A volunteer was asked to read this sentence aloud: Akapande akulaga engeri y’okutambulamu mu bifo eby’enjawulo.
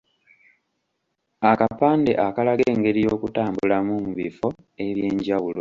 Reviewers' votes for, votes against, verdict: 0, 2, rejected